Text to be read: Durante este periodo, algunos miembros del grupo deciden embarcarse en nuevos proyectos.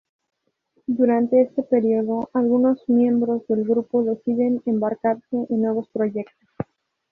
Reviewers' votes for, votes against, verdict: 2, 0, accepted